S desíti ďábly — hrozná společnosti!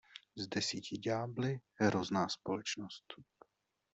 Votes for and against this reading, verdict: 1, 2, rejected